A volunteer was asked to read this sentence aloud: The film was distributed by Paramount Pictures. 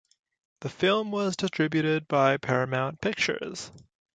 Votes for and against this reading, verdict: 2, 0, accepted